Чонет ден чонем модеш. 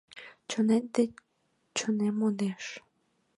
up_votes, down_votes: 1, 2